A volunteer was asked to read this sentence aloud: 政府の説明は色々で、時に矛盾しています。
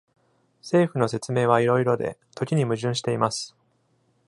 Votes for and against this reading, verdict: 2, 0, accepted